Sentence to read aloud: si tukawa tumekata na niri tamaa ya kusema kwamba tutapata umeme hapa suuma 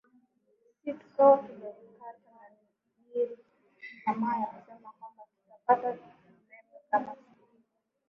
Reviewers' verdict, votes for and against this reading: rejected, 1, 5